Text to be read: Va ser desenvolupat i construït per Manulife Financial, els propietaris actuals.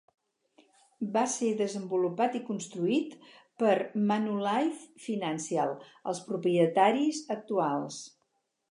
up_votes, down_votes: 2, 2